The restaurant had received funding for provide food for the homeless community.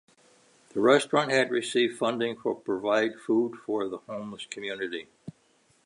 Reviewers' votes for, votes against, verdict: 3, 0, accepted